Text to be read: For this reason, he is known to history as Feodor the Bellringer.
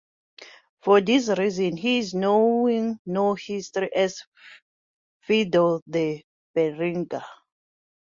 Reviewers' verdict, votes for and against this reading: rejected, 0, 2